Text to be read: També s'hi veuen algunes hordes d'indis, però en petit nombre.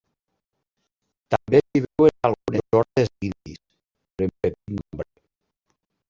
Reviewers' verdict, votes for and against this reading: rejected, 0, 2